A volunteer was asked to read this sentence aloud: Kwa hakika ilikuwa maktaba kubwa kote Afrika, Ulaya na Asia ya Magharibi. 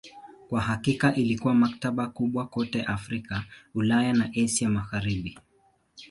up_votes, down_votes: 2, 0